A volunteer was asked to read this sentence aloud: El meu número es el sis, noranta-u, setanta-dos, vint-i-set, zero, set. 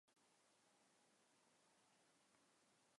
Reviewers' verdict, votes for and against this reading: rejected, 0, 2